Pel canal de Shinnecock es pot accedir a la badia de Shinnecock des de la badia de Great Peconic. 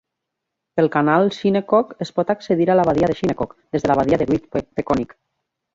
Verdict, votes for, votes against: rejected, 0, 2